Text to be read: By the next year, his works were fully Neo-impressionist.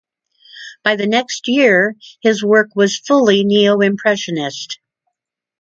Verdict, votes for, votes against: rejected, 0, 2